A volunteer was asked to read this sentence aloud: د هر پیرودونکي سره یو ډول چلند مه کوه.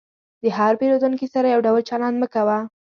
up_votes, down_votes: 2, 0